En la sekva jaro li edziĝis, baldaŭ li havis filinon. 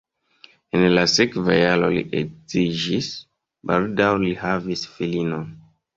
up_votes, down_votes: 1, 2